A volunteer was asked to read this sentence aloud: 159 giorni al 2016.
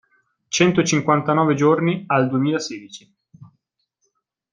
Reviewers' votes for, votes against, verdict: 0, 2, rejected